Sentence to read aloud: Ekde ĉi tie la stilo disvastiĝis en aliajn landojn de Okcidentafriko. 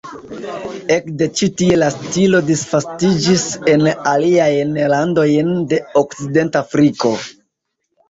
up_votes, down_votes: 1, 2